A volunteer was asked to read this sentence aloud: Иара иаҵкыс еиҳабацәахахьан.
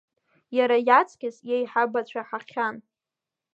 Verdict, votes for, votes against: rejected, 1, 2